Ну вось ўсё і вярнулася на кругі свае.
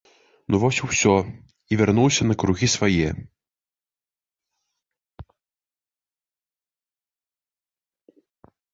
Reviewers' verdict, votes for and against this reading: rejected, 1, 3